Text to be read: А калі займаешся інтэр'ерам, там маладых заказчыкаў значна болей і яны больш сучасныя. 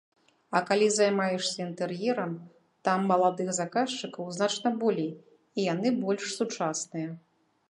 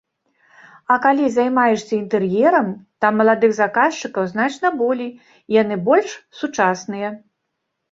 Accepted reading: first